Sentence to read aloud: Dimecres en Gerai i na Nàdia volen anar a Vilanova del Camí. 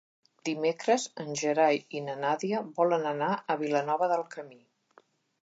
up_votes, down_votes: 3, 0